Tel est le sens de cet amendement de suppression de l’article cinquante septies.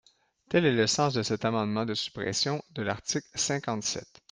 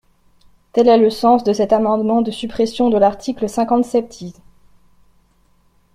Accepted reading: second